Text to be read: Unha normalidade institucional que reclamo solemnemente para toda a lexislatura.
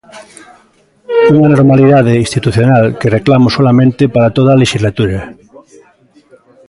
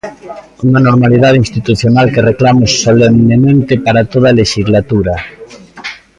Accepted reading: second